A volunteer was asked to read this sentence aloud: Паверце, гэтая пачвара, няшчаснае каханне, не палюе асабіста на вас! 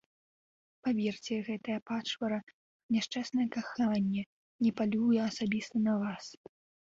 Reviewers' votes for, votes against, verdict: 1, 2, rejected